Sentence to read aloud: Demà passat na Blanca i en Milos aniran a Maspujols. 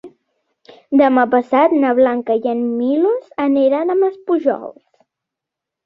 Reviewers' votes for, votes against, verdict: 4, 0, accepted